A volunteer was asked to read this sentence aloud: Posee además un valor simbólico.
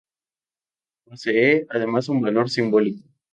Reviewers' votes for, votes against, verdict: 4, 0, accepted